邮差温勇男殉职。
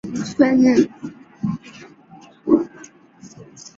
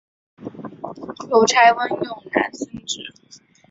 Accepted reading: second